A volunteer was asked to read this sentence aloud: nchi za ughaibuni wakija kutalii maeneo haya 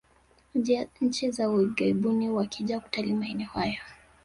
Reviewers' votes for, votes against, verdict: 0, 2, rejected